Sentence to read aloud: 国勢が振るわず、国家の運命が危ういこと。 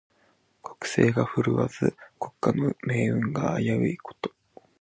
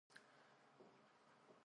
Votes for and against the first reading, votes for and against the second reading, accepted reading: 2, 0, 0, 3, first